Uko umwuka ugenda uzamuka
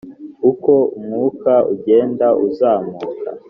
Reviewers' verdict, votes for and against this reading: accepted, 4, 0